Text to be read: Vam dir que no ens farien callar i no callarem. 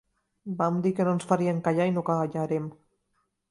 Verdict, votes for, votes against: rejected, 1, 2